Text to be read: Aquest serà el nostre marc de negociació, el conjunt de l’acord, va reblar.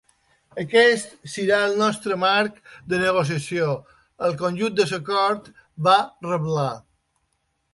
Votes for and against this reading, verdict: 1, 2, rejected